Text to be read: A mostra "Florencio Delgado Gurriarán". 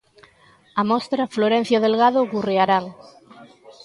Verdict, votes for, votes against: accepted, 2, 0